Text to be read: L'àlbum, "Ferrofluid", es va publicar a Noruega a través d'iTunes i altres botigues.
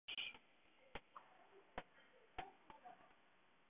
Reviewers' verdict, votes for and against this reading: rejected, 0, 2